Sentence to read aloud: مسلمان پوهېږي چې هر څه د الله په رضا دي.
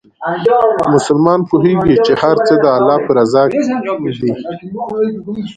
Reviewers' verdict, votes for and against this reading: accepted, 2, 0